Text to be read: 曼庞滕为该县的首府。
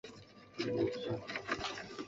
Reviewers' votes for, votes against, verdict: 0, 3, rejected